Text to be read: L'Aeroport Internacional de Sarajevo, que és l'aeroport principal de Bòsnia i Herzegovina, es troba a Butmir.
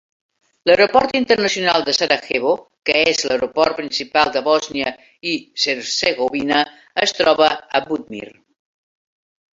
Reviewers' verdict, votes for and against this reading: rejected, 1, 2